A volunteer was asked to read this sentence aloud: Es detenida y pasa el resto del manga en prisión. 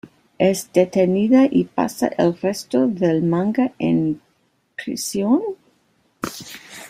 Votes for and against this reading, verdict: 1, 2, rejected